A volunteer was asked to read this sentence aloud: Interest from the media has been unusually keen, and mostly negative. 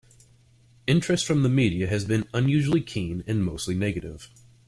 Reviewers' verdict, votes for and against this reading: accepted, 2, 0